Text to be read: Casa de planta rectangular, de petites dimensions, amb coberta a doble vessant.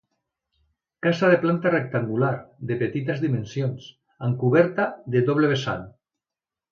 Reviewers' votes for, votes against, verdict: 0, 2, rejected